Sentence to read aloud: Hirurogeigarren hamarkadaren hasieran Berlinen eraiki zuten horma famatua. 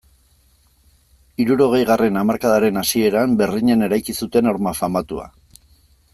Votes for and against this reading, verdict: 2, 0, accepted